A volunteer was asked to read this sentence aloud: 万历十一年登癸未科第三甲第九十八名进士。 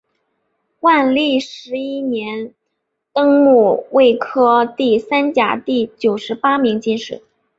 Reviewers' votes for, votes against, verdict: 2, 4, rejected